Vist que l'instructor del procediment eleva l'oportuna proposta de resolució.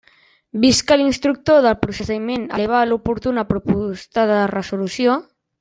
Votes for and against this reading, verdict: 1, 2, rejected